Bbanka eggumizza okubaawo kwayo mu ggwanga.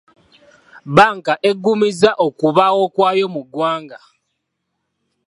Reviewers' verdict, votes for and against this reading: accepted, 2, 0